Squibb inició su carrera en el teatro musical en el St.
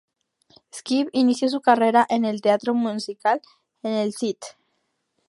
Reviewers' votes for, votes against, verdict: 2, 0, accepted